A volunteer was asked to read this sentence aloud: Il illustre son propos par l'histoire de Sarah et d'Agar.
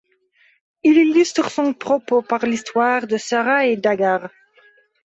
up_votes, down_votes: 2, 0